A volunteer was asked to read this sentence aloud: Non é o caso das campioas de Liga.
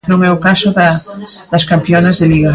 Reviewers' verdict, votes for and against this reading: rejected, 0, 2